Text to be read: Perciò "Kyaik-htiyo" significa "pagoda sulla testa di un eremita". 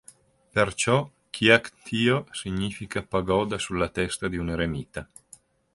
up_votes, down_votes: 2, 0